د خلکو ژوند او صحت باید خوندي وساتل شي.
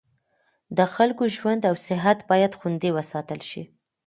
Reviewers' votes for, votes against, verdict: 2, 0, accepted